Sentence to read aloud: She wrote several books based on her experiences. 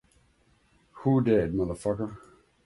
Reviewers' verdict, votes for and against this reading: rejected, 0, 2